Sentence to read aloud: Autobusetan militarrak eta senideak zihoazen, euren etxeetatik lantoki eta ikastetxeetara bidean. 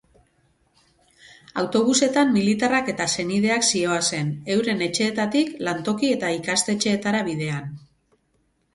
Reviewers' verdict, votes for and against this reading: accepted, 4, 0